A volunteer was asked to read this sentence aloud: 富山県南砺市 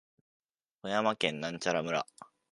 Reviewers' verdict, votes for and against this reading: rejected, 0, 2